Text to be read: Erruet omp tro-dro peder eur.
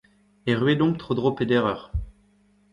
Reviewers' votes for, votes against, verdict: 1, 2, rejected